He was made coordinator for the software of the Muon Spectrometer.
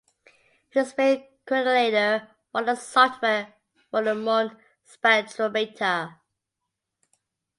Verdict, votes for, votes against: accepted, 2, 1